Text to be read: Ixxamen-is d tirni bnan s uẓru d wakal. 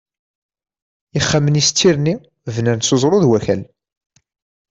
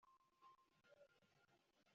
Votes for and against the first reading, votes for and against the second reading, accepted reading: 2, 0, 1, 2, first